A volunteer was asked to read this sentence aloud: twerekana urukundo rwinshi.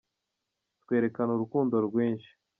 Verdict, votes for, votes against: accepted, 2, 0